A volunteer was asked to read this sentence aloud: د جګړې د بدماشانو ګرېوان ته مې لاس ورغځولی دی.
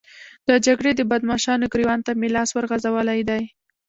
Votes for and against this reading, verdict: 1, 2, rejected